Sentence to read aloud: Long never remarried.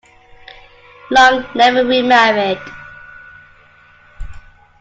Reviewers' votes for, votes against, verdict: 1, 2, rejected